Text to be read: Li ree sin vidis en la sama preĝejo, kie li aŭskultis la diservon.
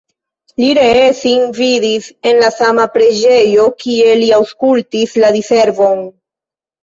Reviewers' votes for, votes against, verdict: 1, 2, rejected